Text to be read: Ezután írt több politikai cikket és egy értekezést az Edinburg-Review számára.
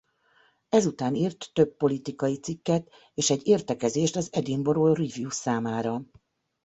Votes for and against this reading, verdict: 1, 2, rejected